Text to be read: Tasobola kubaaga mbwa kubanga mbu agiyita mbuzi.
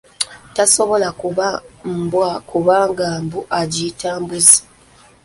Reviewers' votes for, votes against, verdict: 0, 2, rejected